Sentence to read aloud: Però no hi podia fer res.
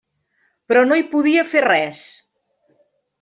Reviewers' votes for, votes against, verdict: 3, 0, accepted